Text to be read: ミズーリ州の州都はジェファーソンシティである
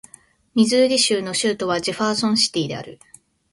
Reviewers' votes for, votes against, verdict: 2, 0, accepted